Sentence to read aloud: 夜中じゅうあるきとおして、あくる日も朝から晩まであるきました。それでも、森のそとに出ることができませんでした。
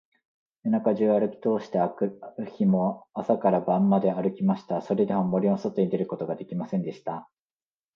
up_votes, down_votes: 2, 0